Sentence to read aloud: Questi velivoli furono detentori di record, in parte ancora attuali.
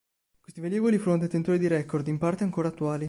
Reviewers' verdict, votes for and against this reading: accepted, 2, 1